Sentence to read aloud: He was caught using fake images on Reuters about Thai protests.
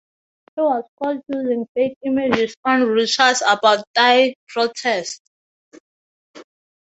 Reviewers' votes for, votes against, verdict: 2, 0, accepted